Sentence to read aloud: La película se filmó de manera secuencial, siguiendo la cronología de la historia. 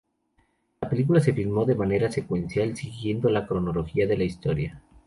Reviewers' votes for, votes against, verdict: 2, 0, accepted